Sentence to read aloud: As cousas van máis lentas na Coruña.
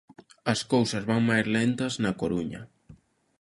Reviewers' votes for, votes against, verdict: 2, 0, accepted